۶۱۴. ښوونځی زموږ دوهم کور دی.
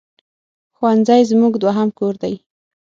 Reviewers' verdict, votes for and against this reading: rejected, 0, 2